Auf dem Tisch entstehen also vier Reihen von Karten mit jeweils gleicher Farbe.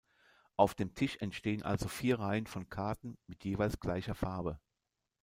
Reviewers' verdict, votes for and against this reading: rejected, 0, 2